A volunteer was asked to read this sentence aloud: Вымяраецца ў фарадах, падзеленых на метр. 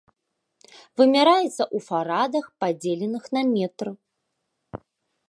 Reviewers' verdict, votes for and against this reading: accepted, 2, 0